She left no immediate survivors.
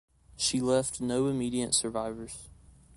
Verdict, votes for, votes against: accepted, 2, 0